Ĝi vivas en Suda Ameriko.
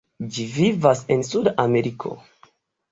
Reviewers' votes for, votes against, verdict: 2, 0, accepted